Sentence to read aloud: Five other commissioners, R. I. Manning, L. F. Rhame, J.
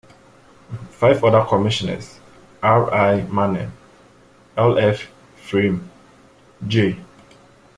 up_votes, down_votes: 0, 2